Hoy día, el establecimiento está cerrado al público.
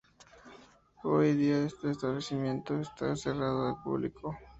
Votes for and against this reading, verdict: 0, 2, rejected